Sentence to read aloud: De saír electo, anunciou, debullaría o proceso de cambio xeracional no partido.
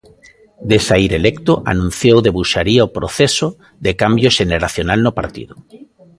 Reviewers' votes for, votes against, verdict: 1, 2, rejected